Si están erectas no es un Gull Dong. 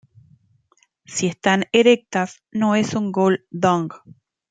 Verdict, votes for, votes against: accepted, 2, 0